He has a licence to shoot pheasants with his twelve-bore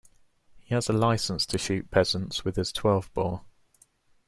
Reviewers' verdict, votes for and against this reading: rejected, 1, 2